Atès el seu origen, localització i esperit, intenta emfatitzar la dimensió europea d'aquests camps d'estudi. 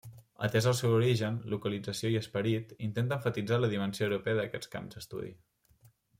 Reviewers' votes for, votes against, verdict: 2, 0, accepted